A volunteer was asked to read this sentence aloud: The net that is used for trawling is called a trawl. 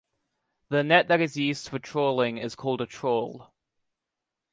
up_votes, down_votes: 2, 0